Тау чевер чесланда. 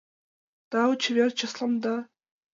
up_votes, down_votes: 6, 1